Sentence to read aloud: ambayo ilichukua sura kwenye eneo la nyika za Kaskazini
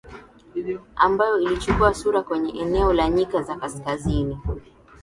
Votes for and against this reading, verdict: 9, 4, accepted